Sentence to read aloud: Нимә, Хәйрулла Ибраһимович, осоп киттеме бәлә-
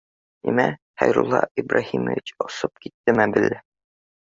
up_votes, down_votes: 1, 2